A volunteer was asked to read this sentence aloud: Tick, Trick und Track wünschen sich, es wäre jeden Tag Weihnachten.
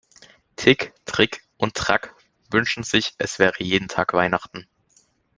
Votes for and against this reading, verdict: 2, 0, accepted